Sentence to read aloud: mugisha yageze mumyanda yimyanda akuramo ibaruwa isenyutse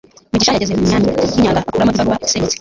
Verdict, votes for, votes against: rejected, 1, 2